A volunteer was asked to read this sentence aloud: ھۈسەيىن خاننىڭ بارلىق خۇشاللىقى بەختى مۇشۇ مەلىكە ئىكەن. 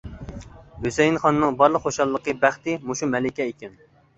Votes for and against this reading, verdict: 2, 0, accepted